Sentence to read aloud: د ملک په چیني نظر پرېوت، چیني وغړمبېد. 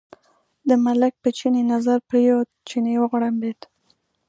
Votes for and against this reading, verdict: 2, 0, accepted